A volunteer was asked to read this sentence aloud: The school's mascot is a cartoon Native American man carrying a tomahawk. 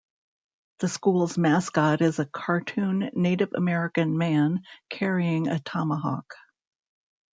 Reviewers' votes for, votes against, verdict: 2, 0, accepted